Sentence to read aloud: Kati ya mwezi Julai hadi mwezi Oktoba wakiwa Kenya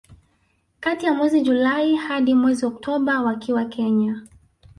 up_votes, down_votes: 0, 2